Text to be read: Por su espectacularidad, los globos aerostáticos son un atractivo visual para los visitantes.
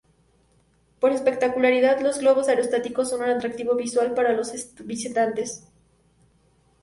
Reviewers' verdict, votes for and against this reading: accepted, 2, 0